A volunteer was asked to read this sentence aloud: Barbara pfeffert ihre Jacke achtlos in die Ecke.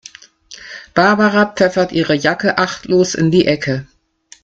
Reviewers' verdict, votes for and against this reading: rejected, 0, 2